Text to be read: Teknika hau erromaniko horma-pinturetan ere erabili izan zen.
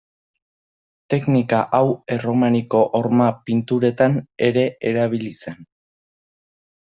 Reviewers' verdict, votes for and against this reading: rejected, 0, 2